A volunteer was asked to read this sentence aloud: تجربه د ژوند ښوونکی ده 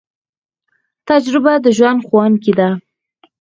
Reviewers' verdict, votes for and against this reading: accepted, 4, 0